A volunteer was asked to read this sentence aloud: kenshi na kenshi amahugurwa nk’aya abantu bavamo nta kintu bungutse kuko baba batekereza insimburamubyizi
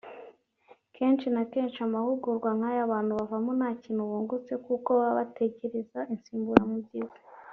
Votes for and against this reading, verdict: 1, 2, rejected